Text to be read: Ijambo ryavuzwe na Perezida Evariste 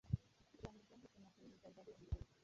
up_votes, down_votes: 1, 2